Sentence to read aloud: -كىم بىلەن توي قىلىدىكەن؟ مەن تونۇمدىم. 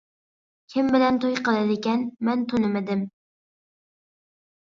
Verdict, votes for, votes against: accepted, 2, 1